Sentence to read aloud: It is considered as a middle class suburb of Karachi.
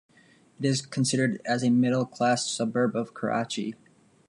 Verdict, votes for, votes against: accepted, 2, 0